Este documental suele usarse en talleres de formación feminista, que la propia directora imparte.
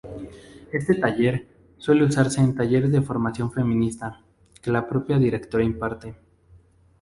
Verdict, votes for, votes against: rejected, 0, 2